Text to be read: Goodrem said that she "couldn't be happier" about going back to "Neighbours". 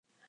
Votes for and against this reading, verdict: 0, 3, rejected